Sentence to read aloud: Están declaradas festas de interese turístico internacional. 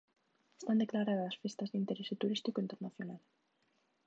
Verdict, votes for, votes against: rejected, 0, 2